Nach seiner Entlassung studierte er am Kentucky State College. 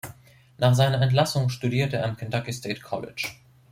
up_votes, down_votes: 2, 0